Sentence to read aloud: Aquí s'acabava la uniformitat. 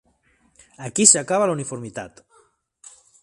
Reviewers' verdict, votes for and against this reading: accepted, 2, 1